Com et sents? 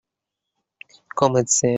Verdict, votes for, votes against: rejected, 0, 2